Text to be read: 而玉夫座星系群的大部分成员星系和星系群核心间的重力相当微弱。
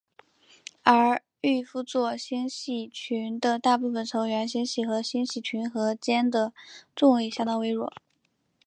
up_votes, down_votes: 2, 3